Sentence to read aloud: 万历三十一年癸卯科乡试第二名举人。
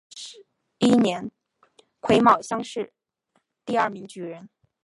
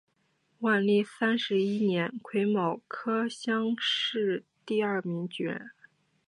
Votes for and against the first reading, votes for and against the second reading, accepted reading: 0, 2, 2, 0, second